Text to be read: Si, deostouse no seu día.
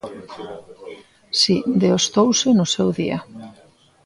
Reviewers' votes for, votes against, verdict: 0, 2, rejected